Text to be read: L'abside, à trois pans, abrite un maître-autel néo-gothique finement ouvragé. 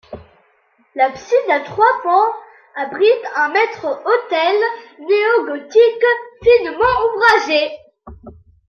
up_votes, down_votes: 2, 0